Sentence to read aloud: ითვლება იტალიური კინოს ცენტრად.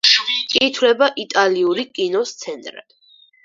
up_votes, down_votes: 4, 0